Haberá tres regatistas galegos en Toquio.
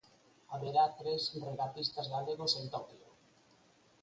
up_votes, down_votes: 4, 0